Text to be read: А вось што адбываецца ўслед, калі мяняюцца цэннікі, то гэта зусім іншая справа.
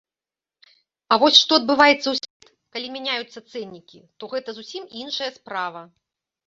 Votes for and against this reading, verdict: 0, 2, rejected